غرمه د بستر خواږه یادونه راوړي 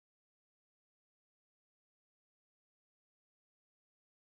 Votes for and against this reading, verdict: 1, 2, rejected